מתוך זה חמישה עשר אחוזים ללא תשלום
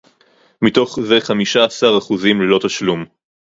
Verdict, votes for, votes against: accepted, 2, 0